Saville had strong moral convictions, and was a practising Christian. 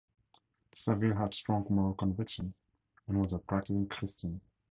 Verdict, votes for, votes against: rejected, 2, 2